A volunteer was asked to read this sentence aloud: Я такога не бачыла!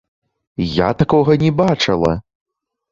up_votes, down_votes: 2, 1